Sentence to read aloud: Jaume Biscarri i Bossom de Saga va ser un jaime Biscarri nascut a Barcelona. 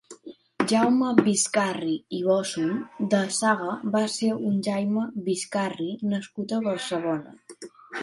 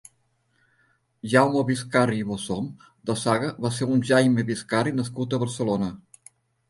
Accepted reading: second